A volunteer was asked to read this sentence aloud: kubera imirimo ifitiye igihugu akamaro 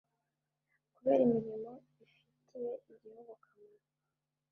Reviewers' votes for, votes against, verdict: 1, 2, rejected